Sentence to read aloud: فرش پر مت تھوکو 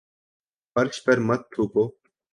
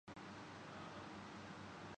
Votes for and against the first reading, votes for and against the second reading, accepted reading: 2, 0, 0, 3, first